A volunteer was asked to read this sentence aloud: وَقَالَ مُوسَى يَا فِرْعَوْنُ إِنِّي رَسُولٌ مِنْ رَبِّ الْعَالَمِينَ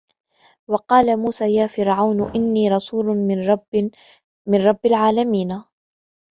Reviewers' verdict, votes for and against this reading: rejected, 1, 2